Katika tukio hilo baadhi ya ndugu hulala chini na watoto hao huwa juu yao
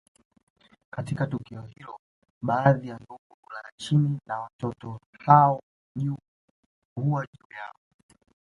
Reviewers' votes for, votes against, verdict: 2, 0, accepted